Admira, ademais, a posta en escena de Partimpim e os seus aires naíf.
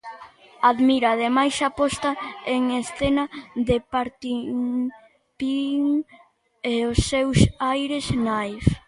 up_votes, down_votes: 0, 2